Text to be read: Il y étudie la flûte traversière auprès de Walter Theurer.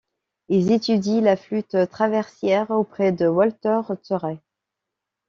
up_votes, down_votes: 1, 2